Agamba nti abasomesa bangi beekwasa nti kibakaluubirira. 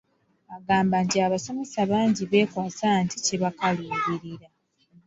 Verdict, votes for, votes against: accepted, 2, 0